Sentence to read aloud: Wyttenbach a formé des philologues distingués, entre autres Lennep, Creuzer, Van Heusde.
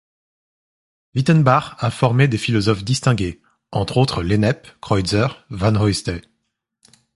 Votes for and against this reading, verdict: 0, 2, rejected